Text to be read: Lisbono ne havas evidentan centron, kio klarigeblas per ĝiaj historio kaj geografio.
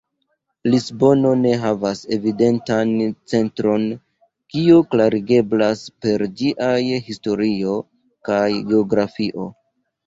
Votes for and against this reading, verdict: 2, 0, accepted